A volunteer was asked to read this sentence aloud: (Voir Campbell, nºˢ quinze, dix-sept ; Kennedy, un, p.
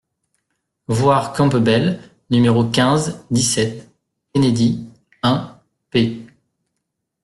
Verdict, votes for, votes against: rejected, 1, 2